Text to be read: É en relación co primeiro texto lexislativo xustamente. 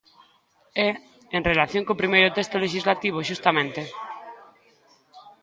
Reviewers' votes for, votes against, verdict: 2, 1, accepted